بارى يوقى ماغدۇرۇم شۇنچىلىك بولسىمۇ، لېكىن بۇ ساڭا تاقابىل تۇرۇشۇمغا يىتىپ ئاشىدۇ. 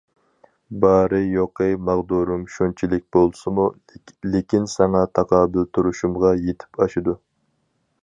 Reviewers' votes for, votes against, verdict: 0, 2, rejected